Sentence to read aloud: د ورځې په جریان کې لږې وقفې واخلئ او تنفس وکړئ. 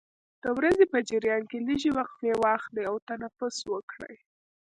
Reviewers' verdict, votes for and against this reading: rejected, 1, 2